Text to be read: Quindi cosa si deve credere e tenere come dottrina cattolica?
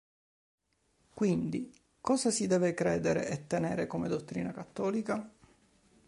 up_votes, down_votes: 2, 0